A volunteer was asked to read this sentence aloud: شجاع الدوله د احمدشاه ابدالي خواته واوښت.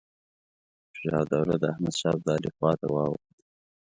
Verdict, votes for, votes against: rejected, 1, 2